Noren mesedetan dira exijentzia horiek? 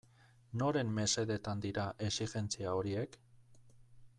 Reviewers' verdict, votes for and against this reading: rejected, 1, 2